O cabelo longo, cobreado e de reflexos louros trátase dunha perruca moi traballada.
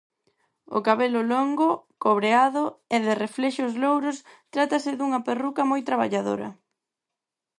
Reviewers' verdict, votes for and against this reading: rejected, 0, 4